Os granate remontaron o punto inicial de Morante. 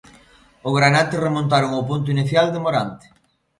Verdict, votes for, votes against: rejected, 0, 2